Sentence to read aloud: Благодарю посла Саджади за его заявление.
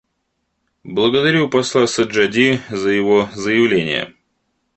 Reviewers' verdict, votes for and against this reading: accepted, 2, 0